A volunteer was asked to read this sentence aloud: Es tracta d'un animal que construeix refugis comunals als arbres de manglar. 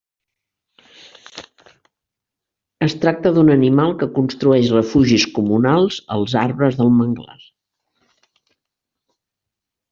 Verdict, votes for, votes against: accepted, 2, 0